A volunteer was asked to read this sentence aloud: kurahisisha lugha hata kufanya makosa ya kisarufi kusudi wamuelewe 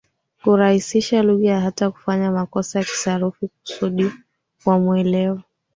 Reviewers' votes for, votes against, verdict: 3, 4, rejected